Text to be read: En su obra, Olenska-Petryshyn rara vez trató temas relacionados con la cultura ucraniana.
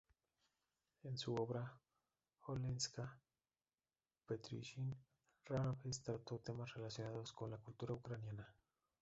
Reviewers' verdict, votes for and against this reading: rejected, 0, 3